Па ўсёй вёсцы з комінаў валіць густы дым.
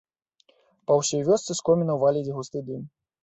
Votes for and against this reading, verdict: 2, 1, accepted